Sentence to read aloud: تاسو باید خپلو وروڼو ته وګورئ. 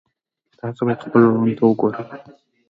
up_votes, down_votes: 2, 1